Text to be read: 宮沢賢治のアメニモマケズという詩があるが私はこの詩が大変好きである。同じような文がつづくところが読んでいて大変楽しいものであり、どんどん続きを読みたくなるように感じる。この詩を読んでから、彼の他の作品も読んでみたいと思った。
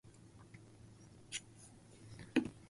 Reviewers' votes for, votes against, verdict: 1, 2, rejected